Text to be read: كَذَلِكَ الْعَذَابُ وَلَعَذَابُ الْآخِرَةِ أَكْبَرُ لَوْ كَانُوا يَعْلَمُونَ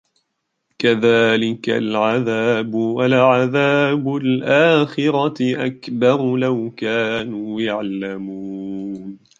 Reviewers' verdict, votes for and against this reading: rejected, 0, 2